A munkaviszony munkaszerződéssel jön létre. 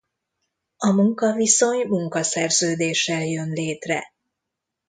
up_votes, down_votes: 2, 0